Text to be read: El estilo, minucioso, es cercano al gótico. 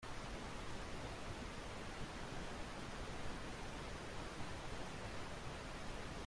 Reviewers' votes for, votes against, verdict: 0, 2, rejected